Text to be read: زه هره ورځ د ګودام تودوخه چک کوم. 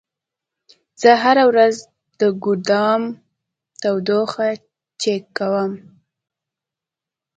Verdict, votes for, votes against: accepted, 2, 0